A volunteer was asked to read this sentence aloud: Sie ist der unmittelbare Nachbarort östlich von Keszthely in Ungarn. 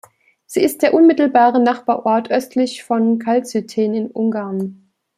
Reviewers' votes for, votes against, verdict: 0, 2, rejected